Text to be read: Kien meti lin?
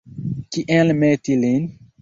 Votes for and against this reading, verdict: 2, 1, accepted